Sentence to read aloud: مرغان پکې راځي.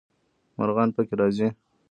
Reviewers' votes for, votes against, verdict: 1, 2, rejected